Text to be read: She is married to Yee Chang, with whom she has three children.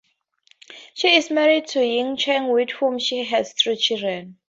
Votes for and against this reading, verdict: 2, 0, accepted